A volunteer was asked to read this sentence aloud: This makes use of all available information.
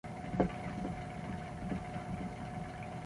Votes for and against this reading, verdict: 0, 2, rejected